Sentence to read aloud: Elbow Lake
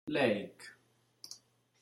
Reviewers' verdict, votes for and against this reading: rejected, 1, 2